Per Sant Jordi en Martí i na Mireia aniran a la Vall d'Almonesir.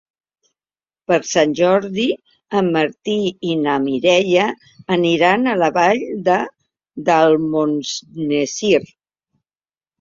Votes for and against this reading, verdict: 0, 2, rejected